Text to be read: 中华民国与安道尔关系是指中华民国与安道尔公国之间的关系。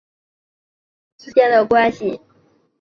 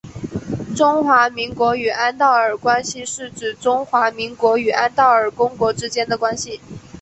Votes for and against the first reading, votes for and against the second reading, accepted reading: 1, 2, 2, 0, second